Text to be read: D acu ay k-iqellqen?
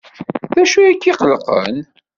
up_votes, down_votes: 2, 0